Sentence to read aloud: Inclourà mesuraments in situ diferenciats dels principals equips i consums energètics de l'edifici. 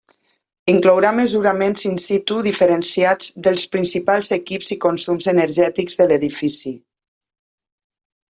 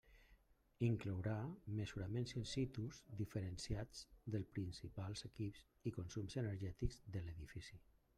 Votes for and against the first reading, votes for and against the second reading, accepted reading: 3, 0, 1, 2, first